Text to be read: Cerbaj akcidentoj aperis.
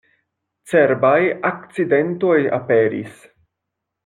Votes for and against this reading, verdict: 2, 0, accepted